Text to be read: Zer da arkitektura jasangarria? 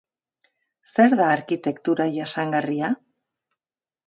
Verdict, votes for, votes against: accepted, 2, 0